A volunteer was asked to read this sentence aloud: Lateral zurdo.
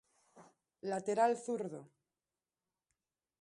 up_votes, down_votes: 2, 0